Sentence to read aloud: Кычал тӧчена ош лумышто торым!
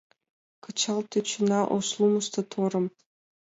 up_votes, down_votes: 2, 0